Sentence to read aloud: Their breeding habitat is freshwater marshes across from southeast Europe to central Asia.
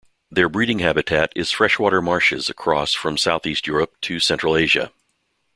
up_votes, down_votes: 2, 0